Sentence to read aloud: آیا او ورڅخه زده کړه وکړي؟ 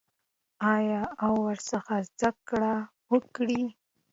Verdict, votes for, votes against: accepted, 2, 0